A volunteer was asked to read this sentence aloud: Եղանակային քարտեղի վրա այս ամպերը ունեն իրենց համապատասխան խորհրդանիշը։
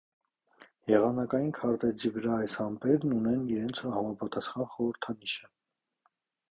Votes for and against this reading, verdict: 1, 2, rejected